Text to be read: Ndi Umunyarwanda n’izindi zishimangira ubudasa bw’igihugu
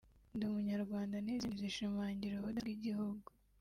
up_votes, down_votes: 0, 3